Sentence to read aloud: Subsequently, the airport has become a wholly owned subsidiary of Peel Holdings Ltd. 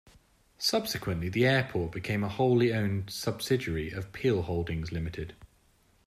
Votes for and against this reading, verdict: 2, 1, accepted